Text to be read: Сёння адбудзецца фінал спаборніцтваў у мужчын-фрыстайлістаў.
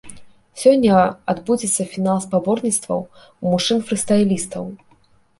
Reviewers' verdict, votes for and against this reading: accepted, 2, 0